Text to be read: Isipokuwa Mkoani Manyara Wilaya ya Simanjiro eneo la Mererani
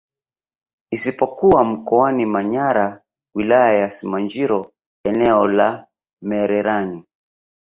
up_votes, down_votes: 1, 2